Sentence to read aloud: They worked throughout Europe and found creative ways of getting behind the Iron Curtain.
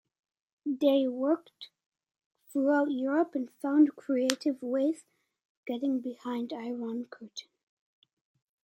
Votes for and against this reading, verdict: 2, 0, accepted